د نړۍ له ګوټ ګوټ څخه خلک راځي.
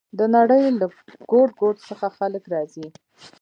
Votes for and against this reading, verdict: 1, 2, rejected